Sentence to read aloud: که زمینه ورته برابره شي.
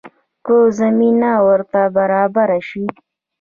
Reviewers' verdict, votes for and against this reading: rejected, 1, 2